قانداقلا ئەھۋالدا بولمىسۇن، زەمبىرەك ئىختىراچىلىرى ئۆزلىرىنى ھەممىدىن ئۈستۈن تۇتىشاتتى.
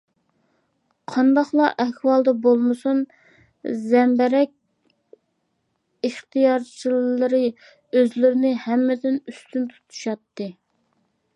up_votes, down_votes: 0, 2